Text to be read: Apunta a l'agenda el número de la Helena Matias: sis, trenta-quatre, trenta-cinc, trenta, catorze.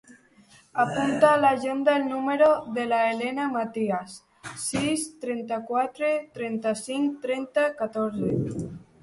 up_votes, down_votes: 0, 2